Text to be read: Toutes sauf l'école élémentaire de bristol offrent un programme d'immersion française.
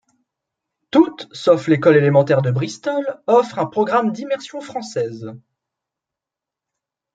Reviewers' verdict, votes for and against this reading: accepted, 2, 0